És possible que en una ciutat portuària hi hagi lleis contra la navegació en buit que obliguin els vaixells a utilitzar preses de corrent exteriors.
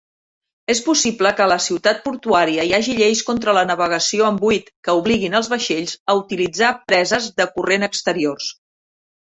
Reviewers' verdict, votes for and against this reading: rejected, 1, 2